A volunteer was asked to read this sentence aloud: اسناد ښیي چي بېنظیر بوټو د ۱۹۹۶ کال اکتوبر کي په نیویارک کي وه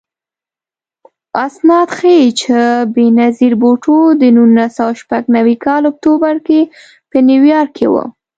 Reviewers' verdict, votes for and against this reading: rejected, 0, 2